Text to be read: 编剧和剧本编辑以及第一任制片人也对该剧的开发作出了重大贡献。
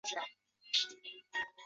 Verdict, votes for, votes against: rejected, 1, 5